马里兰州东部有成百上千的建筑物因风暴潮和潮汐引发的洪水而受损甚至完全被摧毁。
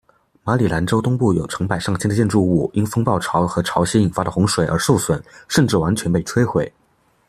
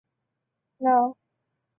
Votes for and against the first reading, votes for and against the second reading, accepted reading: 2, 0, 0, 2, first